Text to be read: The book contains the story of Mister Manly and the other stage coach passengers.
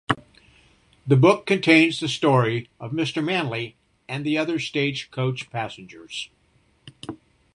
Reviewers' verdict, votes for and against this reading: accepted, 2, 0